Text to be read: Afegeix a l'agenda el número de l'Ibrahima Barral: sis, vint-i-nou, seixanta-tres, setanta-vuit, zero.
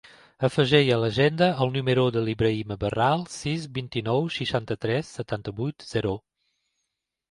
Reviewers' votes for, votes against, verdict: 1, 2, rejected